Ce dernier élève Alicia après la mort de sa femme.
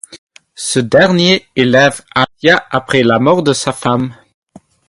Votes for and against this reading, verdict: 2, 0, accepted